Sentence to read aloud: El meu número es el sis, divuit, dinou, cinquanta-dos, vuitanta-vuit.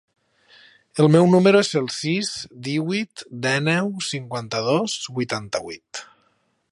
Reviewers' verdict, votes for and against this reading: rejected, 0, 2